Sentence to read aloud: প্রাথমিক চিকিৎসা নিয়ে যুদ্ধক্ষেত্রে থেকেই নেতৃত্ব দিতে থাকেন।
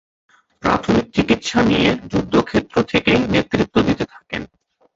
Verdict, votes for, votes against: rejected, 1, 2